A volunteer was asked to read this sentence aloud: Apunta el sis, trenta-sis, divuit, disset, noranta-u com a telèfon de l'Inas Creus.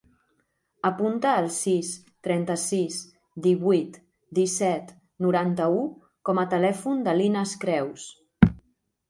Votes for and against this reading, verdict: 3, 0, accepted